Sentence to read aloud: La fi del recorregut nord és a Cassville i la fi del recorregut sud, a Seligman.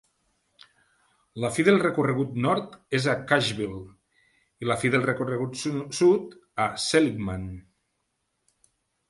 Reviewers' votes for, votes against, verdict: 1, 2, rejected